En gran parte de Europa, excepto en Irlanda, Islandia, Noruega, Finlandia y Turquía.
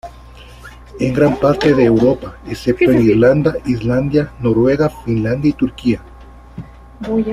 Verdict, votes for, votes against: accepted, 2, 0